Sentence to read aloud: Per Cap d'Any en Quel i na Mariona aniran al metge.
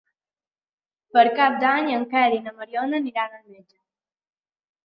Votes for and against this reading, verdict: 2, 1, accepted